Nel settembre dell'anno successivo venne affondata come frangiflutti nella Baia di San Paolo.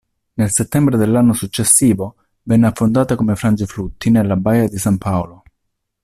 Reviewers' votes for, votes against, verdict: 2, 0, accepted